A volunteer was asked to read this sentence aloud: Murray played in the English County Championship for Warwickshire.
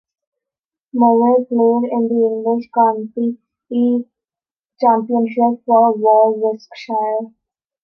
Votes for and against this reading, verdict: 0, 2, rejected